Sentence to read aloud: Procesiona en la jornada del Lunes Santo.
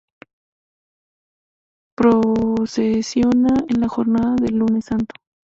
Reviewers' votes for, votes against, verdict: 0, 2, rejected